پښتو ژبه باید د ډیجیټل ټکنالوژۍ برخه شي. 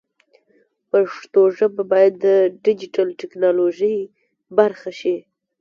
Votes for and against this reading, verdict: 2, 0, accepted